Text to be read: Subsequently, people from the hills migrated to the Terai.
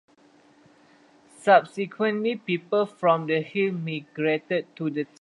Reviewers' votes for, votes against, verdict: 0, 2, rejected